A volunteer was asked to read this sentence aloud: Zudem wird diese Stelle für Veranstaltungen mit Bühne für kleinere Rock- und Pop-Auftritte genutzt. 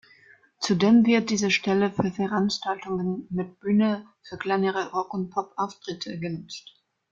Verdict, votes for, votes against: accepted, 2, 0